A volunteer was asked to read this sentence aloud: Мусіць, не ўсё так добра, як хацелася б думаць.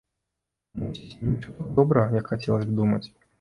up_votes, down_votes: 0, 2